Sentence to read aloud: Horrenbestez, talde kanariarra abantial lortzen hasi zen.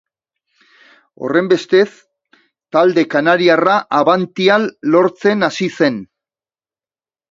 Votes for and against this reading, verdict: 3, 1, accepted